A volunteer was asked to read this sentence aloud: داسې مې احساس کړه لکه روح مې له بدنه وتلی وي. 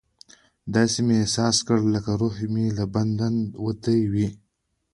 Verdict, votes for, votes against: accepted, 2, 0